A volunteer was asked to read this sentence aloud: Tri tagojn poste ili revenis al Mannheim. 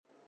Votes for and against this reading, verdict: 1, 2, rejected